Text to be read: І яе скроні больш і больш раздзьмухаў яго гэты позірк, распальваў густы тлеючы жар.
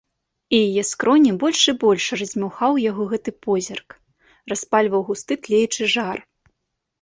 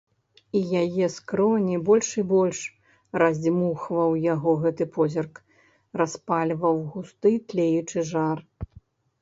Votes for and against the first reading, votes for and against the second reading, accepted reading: 2, 0, 1, 2, first